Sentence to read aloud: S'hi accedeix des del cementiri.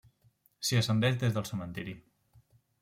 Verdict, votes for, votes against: rejected, 1, 2